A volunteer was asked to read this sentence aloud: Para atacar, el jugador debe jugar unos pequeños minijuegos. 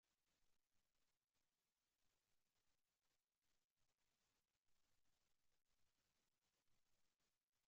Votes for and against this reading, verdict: 0, 3, rejected